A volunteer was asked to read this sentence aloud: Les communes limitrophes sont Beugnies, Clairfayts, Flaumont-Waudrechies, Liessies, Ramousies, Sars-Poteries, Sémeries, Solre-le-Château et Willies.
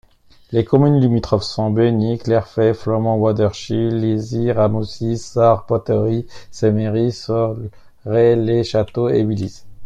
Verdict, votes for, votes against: accepted, 2, 0